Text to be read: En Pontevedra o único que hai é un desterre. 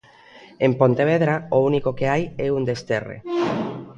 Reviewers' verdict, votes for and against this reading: accepted, 2, 1